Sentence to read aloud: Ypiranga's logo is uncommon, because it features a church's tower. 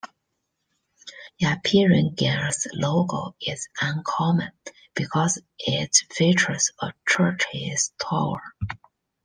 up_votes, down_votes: 2, 1